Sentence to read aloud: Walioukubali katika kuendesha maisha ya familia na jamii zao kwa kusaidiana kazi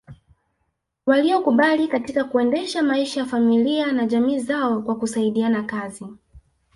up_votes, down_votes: 0, 2